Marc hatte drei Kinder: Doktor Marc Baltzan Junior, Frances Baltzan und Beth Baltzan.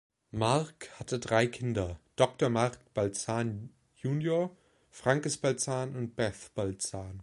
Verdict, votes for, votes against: rejected, 1, 2